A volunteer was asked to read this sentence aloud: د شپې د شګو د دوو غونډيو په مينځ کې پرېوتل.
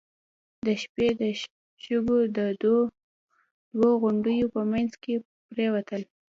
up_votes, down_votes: 1, 2